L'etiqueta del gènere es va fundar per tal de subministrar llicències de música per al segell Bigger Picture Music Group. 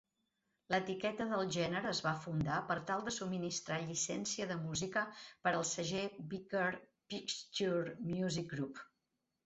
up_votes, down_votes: 2, 4